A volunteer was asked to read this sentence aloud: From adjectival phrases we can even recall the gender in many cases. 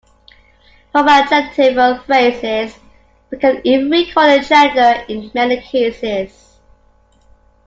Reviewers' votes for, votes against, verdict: 2, 1, accepted